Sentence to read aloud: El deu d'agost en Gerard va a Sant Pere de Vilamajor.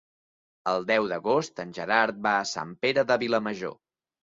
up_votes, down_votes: 2, 0